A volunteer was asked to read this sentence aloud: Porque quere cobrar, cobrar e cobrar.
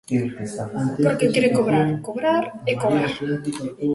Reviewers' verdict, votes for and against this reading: accepted, 3, 0